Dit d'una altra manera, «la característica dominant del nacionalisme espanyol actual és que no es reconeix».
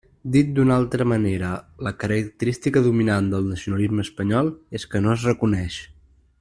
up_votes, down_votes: 0, 2